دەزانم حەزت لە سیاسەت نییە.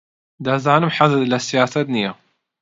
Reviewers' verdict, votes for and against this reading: accepted, 2, 0